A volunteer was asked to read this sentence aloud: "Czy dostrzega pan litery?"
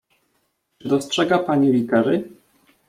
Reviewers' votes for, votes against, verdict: 0, 2, rejected